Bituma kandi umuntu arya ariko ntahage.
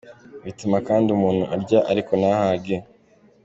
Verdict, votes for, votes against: accepted, 2, 0